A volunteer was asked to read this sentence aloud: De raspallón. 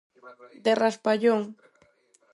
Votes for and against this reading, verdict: 2, 4, rejected